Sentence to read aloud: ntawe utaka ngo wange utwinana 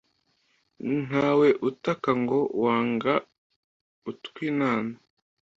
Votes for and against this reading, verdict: 2, 1, accepted